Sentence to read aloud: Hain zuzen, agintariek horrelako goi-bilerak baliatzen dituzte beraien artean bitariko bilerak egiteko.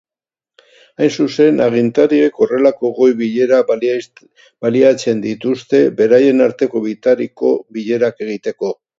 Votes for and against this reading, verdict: 0, 2, rejected